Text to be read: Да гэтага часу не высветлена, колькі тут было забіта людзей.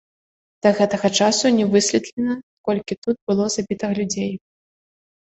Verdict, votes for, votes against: rejected, 1, 2